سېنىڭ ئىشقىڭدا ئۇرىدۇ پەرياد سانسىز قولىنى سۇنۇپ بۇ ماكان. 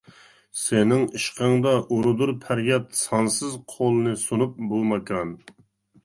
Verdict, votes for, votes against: rejected, 1, 2